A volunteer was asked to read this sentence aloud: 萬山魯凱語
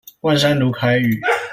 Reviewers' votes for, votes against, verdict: 2, 0, accepted